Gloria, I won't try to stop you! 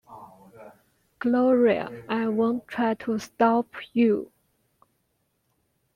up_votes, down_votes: 2, 1